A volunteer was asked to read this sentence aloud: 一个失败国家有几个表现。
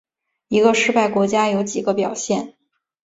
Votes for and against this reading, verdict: 3, 0, accepted